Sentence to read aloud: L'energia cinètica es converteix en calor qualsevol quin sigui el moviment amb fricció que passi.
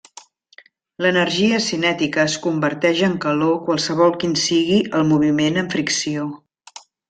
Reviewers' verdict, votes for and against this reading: rejected, 0, 2